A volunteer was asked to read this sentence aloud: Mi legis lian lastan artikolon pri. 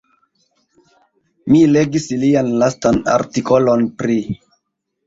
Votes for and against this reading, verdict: 2, 0, accepted